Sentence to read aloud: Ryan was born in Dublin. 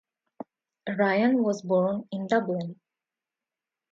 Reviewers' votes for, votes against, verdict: 2, 0, accepted